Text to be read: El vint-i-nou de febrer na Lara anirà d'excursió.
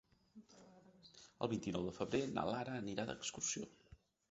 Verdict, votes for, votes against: rejected, 0, 3